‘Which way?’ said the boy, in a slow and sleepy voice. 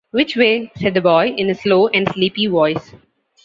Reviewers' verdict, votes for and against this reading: accepted, 2, 0